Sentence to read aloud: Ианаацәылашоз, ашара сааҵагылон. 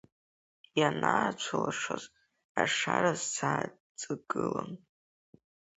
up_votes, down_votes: 3, 5